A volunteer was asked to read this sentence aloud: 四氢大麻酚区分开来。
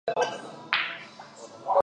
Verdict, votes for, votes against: rejected, 2, 2